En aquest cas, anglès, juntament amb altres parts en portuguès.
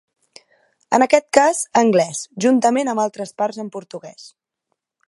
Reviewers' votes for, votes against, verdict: 3, 0, accepted